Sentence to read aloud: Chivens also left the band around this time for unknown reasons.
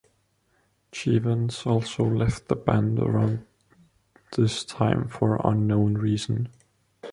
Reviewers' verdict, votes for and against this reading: rejected, 1, 2